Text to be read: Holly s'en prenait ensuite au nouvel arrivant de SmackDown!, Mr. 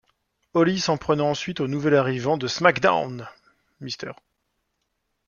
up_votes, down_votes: 0, 2